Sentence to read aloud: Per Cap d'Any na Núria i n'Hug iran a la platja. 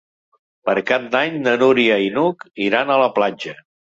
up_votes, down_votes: 3, 0